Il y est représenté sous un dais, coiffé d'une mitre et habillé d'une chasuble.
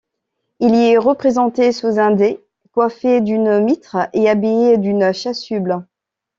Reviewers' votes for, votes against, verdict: 1, 2, rejected